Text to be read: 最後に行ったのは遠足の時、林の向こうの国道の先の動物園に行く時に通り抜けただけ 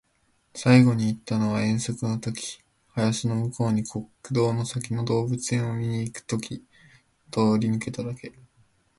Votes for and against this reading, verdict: 0, 2, rejected